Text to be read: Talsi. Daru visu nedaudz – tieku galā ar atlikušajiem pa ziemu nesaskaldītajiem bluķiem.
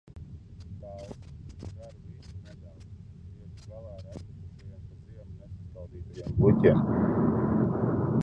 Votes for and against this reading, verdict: 0, 2, rejected